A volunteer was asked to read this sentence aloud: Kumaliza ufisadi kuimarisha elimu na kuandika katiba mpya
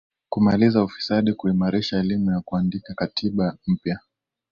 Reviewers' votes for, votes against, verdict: 2, 0, accepted